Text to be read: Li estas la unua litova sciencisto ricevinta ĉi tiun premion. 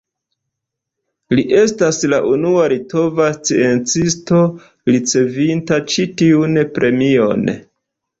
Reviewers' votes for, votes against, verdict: 2, 0, accepted